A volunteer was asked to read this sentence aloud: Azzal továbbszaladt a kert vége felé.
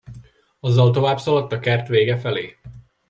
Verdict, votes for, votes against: accepted, 2, 0